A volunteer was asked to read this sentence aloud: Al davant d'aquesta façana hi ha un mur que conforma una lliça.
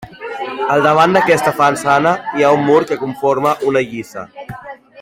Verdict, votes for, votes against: rejected, 1, 2